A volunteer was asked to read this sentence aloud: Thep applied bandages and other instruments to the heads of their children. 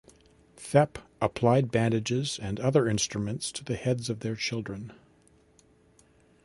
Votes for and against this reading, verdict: 2, 0, accepted